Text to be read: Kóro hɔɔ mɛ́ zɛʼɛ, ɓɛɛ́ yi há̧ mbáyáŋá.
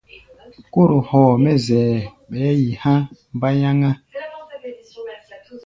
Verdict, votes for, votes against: accepted, 2, 0